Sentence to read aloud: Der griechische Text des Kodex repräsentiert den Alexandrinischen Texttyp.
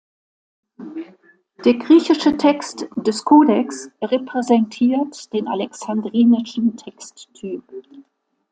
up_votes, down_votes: 2, 0